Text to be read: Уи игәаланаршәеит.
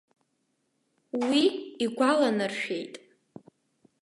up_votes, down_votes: 2, 0